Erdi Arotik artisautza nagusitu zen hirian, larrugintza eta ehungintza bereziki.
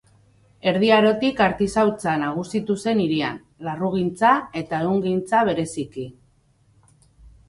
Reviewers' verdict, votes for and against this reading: accepted, 2, 0